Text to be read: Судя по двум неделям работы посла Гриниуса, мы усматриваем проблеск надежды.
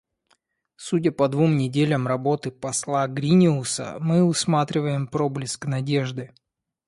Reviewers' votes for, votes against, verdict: 2, 0, accepted